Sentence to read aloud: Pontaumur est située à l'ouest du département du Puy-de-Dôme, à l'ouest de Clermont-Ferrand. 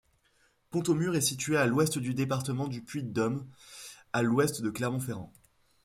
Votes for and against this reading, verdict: 2, 0, accepted